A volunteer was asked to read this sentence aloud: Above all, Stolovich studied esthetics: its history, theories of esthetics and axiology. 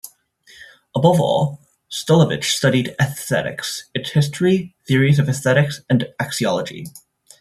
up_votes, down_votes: 2, 0